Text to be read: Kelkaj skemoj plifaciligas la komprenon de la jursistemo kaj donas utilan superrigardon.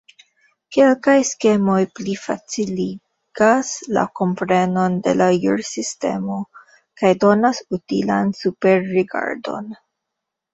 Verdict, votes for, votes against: rejected, 0, 2